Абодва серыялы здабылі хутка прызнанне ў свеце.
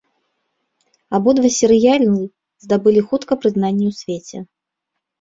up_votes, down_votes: 0, 2